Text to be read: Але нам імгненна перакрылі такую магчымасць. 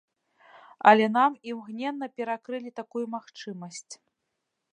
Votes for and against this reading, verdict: 2, 0, accepted